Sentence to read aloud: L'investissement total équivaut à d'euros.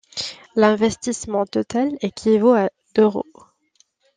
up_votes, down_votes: 2, 1